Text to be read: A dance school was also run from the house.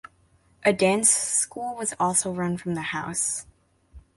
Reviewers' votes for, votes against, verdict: 2, 0, accepted